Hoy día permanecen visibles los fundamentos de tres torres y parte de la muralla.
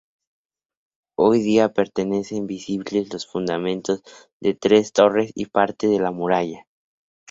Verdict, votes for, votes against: rejected, 0, 2